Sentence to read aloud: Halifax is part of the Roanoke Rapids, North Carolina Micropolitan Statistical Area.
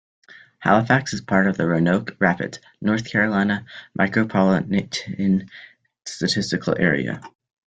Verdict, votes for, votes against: rejected, 0, 2